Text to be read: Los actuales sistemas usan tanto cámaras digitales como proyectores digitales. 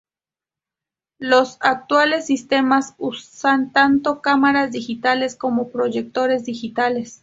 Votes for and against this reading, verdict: 4, 0, accepted